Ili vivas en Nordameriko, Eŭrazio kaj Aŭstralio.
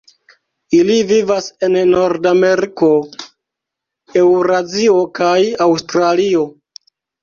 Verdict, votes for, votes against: rejected, 1, 2